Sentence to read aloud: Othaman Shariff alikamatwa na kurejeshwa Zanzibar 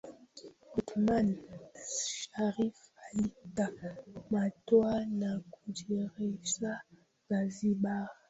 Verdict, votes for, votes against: rejected, 0, 2